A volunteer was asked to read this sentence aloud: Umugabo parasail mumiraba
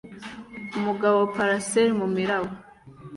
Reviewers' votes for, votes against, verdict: 2, 0, accepted